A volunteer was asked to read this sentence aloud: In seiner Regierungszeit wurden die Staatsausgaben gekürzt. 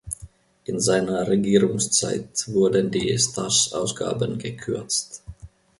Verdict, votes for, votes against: rejected, 0, 2